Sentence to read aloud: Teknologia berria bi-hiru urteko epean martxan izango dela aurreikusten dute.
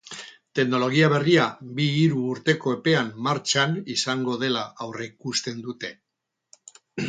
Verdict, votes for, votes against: rejected, 2, 2